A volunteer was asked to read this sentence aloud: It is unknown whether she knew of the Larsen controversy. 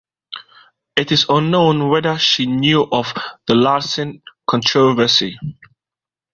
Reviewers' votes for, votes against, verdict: 2, 0, accepted